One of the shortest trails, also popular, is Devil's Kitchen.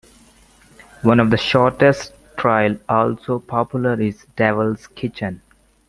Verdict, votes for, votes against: rejected, 0, 2